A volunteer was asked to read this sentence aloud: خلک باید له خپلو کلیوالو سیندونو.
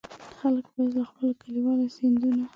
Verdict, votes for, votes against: accepted, 2, 0